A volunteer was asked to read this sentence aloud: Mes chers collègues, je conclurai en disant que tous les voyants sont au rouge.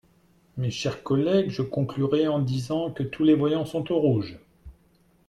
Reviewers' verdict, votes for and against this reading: accepted, 2, 0